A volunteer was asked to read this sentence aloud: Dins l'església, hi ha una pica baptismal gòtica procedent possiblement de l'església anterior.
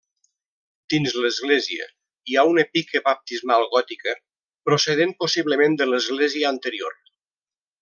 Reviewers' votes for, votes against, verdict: 3, 0, accepted